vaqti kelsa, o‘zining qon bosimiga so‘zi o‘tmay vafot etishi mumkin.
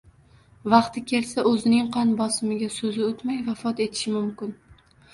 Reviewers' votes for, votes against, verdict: 2, 0, accepted